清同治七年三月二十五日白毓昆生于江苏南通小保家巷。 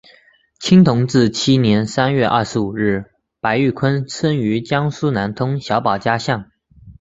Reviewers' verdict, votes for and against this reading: accepted, 3, 0